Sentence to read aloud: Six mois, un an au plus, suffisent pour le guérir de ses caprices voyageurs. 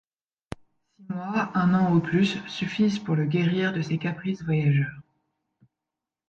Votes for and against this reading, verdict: 1, 2, rejected